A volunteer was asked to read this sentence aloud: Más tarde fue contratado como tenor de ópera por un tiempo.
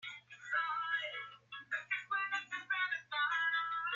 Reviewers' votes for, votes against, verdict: 0, 2, rejected